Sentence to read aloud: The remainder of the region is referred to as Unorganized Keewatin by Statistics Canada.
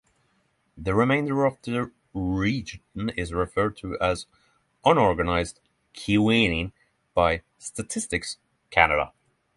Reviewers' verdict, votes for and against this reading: accepted, 6, 3